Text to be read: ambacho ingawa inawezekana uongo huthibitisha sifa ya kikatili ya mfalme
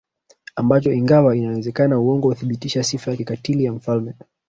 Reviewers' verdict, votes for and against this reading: accepted, 4, 0